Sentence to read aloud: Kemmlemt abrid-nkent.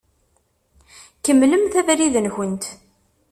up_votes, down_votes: 2, 0